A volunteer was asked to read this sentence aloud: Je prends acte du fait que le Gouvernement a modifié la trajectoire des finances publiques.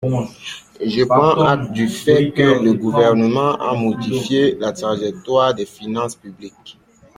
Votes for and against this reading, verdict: 2, 0, accepted